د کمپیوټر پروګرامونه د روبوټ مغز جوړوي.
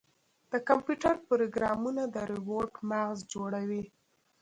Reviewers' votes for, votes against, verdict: 0, 2, rejected